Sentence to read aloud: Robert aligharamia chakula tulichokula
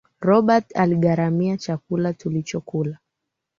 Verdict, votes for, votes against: rejected, 1, 2